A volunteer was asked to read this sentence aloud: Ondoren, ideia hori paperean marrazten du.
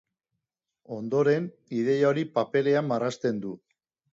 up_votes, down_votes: 2, 0